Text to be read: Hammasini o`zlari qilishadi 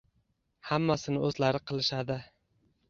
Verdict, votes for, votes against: accepted, 2, 1